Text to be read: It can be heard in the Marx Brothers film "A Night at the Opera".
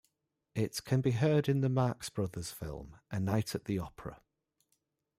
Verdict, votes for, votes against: accepted, 2, 0